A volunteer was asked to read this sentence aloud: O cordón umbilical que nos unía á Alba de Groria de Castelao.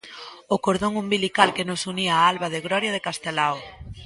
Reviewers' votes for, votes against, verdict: 1, 2, rejected